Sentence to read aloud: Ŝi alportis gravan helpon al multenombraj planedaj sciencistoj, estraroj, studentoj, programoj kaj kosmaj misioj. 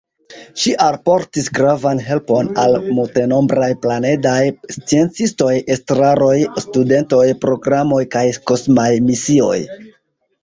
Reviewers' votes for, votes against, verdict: 2, 1, accepted